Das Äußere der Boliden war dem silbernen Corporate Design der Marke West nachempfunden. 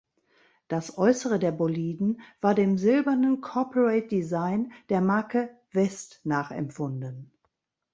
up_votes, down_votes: 2, 0